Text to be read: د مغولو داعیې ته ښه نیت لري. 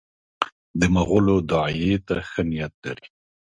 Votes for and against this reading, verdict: 2, 1, accepted